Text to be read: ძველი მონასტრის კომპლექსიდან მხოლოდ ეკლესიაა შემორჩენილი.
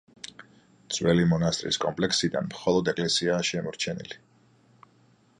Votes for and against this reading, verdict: 2, 0, accepted